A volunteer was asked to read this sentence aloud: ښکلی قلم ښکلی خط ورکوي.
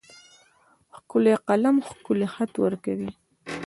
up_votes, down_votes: 2, 1